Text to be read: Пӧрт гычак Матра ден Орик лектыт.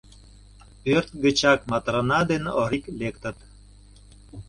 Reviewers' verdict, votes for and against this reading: rejected, 0, 2